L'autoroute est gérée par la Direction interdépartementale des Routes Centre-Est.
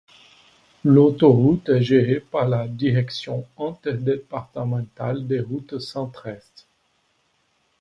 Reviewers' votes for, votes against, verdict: 1, 2, rejected